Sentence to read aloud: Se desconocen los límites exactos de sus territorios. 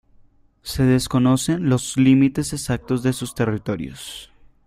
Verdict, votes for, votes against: accepted, 2, 0